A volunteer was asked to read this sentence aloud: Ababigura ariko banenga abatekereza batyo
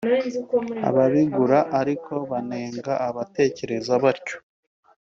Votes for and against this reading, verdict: 2, 0, accepted